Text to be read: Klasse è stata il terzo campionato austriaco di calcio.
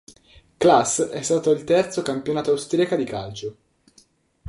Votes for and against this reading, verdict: 0, 2, rejected